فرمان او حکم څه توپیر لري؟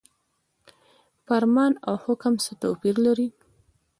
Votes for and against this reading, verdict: 2, 1, accepted